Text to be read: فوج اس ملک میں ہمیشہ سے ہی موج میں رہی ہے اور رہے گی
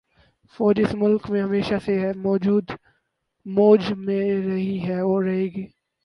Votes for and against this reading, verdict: 0, 6, rejected